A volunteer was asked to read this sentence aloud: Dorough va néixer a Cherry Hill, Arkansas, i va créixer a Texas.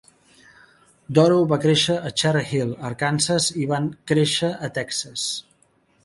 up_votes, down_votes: 0, 2